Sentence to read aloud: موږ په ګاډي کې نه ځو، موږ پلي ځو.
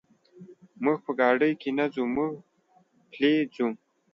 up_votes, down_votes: 2, 1